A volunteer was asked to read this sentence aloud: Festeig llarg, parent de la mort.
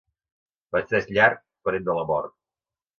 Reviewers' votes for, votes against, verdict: 2, 0, accepted